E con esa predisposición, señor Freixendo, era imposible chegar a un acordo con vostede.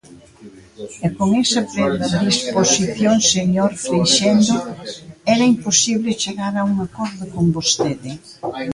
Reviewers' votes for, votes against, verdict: 0, 2, rejected